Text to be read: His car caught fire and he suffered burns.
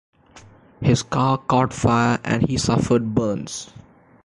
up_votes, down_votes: 2, 0